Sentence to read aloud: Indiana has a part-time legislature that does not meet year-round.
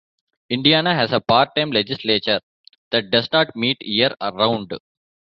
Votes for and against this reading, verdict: 0, 3, rejected